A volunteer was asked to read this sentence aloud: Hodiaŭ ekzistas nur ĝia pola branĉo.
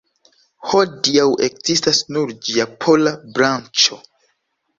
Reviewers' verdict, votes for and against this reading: accepted, 2, 0